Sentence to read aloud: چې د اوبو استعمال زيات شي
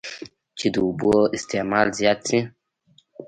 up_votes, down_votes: 0, 2